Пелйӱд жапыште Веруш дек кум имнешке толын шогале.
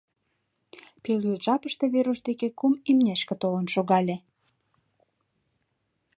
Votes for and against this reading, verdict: 0, 2, rejected